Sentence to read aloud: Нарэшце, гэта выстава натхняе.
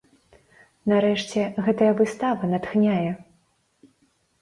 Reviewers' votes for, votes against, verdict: 1, 3, rejected